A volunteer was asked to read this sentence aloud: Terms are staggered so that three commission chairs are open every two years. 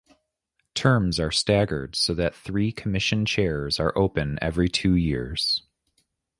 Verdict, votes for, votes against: rejected, 1, 2